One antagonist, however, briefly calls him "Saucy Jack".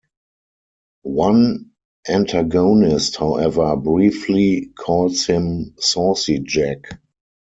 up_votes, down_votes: 0, 4